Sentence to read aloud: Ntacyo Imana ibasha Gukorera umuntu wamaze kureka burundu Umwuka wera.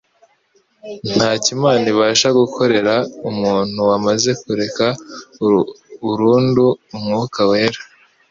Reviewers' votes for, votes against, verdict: 0, 2, rejected